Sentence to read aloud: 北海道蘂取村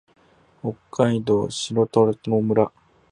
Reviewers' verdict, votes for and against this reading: rejected, 0, 2